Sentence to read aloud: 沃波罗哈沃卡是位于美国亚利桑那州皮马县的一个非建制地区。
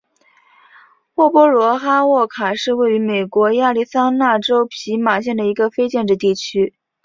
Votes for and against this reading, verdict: 3, 0, accepted